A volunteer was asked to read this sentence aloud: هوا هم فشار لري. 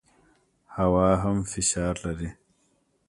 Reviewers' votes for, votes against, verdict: 2, 0, accepted